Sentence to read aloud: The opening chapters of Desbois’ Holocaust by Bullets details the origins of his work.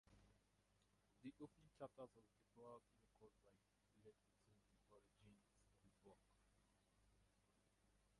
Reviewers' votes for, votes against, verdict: 0, 4, rejected